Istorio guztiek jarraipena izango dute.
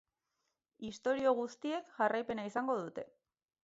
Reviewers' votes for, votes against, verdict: 6, 2, accepted